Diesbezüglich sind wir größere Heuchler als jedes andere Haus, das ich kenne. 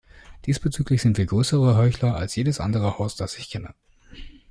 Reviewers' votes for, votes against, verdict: 2, 0, accepted